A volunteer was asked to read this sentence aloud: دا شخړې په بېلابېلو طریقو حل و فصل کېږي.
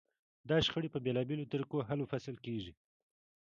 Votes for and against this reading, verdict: 2, 0, accepted